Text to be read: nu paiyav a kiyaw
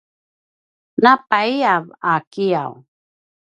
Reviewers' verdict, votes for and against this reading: rejected, 0, 2